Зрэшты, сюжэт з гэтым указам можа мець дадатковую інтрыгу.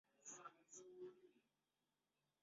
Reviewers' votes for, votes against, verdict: 0, 2, rejected